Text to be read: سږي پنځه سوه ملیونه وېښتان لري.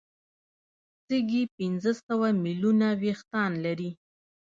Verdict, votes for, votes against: accepted, 2, 0